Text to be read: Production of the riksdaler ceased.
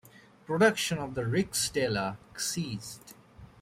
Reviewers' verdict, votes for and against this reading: accepted, 3, 1